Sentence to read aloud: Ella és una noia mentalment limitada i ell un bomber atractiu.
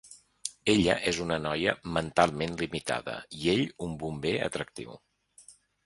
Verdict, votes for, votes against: accepted, 2, 0